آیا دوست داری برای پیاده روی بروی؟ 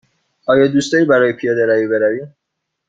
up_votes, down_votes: 2, 0